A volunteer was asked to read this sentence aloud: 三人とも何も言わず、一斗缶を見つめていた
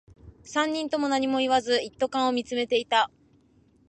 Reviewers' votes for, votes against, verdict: 2, 0, accepted